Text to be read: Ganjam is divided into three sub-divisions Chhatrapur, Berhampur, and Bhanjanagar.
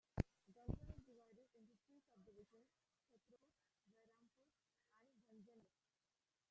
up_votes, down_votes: 0, 2